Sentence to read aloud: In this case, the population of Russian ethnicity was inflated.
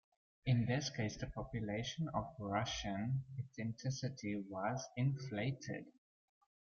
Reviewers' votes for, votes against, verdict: 1, 2, rejected